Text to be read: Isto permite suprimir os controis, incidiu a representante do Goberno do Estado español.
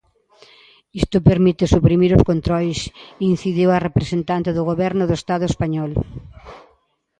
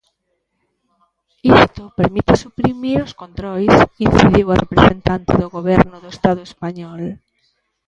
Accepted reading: first